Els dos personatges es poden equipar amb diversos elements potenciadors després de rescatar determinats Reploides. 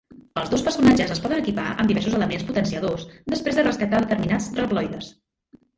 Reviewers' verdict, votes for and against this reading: rejected, 0, 3